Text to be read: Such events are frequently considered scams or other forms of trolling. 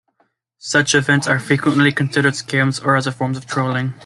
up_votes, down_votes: 2, 0